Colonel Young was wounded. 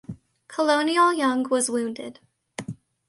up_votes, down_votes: 0, 2